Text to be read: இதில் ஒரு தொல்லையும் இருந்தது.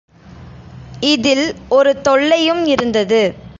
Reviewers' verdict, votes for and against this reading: accepted, 2, 0